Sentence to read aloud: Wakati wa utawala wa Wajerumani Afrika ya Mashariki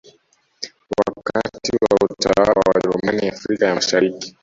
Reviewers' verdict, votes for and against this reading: rejected, 1, 2